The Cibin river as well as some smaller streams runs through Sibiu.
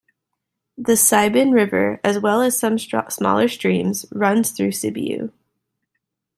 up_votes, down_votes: 1, 2